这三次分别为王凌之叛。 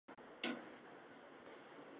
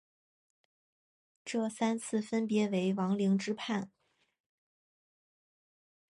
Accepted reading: second